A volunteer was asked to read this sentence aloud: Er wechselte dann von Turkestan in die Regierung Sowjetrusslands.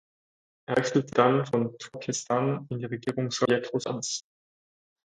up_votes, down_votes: 0, 4